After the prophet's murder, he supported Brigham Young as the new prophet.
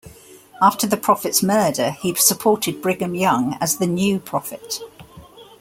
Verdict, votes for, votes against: accepted, 2, 0